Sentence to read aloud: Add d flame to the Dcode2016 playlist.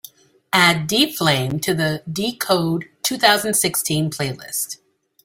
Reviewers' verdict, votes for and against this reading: rejected, 0, 2